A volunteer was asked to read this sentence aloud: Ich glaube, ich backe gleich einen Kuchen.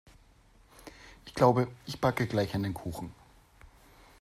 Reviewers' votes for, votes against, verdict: 2, 0, accepted